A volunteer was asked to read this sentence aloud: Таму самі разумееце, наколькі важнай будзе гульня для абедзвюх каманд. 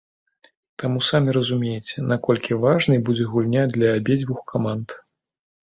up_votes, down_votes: 2, 0